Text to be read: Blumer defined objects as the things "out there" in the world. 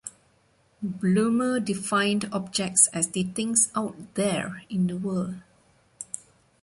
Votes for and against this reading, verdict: 2, 0, accepted